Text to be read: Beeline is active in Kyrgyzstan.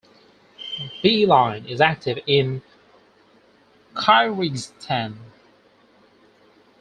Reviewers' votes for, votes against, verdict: 0, 4, rejected